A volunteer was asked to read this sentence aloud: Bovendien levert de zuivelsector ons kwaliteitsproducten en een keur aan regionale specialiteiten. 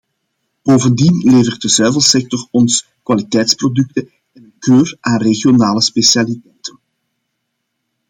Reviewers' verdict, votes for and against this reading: rejected, 0, 2